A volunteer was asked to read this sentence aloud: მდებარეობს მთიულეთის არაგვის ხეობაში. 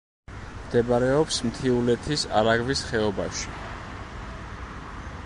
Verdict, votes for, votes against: accepted, 2, 0